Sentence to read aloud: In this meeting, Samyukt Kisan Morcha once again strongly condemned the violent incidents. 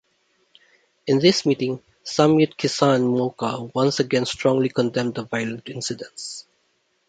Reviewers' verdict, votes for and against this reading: rejected, 1, 2